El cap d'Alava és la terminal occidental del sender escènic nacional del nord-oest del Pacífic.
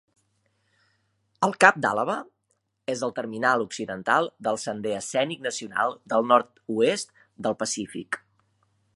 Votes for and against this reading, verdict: 0, 2, rejected